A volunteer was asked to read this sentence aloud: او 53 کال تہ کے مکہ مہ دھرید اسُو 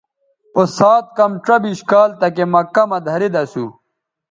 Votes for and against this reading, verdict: 0, 2, rejected